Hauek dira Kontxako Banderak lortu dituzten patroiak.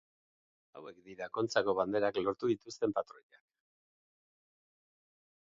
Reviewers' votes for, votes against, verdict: 2, 2, rejected